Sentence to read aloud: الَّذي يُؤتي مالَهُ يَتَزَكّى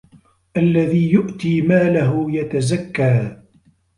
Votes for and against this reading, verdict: 2, 0, accepted